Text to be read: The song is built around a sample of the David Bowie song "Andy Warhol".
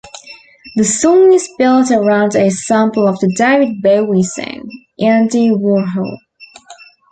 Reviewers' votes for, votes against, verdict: 0, 2, rejected